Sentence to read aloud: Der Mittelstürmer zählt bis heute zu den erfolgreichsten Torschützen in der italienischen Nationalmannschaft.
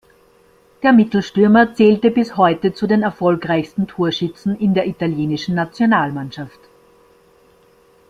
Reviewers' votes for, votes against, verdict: 0, 2, rejected